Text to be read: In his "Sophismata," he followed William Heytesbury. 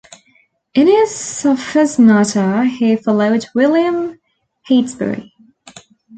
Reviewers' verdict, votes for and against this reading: accepted, 2, 0